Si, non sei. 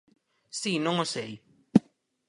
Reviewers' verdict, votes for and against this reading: rejected, 0, 4